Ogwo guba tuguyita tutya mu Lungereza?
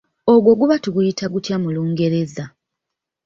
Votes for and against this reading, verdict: 0, 2, rejected